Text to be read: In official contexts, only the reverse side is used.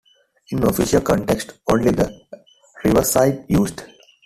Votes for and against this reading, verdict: 1, 2, rejected